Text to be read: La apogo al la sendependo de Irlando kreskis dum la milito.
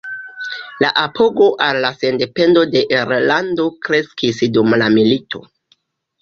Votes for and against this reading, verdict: 2, 0, accepted